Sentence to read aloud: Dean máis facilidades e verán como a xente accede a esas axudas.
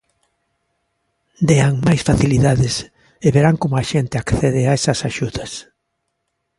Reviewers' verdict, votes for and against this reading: accepted, 2, 0